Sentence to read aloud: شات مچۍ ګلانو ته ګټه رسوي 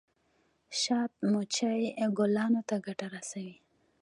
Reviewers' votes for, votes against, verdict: 2, 1, accepted